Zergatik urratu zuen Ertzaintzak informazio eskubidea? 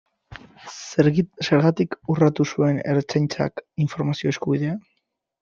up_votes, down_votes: 0, 2